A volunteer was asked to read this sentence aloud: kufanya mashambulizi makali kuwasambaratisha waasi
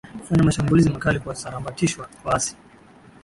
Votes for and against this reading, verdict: 7, 6, accepted